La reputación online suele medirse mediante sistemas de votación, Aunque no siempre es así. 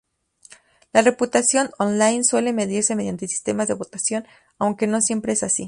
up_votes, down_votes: 2, 0